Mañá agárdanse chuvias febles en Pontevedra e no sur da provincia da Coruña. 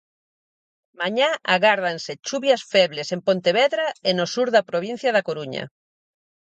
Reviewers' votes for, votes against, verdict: 4, 0, accepted